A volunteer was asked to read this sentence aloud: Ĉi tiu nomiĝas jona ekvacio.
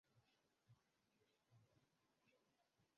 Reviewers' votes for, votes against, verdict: 0, 2, rejected